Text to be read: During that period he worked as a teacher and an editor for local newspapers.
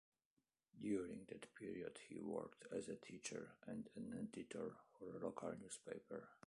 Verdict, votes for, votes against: rejected, 1, 2